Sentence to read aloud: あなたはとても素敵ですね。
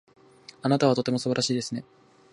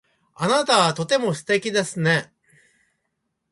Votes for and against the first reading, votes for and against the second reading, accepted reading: 1, 2, 2, 0, second